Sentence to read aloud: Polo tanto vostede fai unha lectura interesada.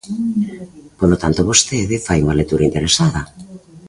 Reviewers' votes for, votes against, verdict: 2, 0, accepted